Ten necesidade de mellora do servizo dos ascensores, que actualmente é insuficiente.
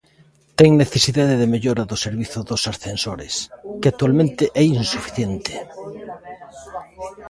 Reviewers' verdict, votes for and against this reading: rejected, 1, 2